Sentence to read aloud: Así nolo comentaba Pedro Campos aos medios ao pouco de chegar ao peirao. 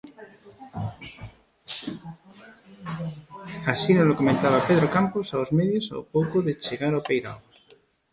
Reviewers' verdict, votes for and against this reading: rejected, 0, 2